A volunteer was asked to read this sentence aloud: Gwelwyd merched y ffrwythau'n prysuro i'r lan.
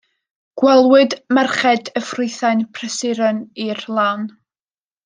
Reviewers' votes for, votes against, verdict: 2, 0, accepted